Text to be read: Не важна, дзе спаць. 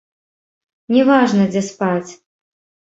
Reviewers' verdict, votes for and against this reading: rejected, 1, 2